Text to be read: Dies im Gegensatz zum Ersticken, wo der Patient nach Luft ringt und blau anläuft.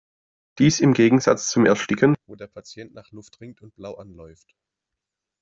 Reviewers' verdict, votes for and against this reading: rejected, 1, 2